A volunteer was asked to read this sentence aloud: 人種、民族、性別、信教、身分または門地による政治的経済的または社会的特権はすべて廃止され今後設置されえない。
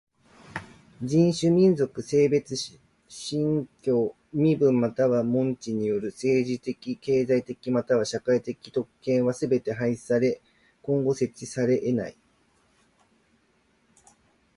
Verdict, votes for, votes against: accepted, 2, 1